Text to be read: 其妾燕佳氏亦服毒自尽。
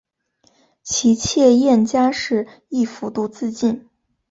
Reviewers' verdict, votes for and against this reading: accepted, 4, 1